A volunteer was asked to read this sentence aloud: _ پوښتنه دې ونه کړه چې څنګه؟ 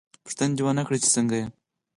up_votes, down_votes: 6, 2